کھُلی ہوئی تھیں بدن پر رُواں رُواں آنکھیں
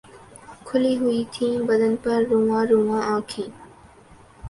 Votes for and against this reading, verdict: 10, 2, accepted